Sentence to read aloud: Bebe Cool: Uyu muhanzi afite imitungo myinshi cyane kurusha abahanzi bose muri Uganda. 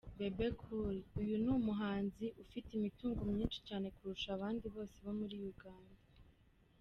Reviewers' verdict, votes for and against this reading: rejected, 1, 2